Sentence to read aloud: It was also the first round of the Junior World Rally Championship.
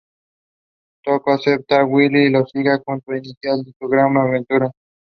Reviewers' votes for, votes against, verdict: 0, 2, rejected